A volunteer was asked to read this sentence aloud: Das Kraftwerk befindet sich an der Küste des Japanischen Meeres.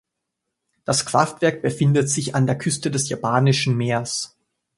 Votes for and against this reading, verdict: 2, 1, accepted